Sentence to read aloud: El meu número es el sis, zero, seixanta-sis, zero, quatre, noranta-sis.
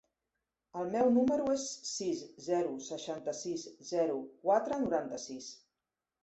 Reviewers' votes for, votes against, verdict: 1, 2, rejected